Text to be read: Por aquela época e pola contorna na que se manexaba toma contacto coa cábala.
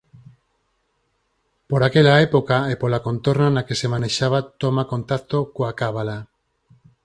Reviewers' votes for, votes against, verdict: 4, 0, accepted